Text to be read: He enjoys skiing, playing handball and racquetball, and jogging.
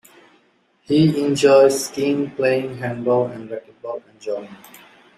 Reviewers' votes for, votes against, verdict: 2, 1, accepted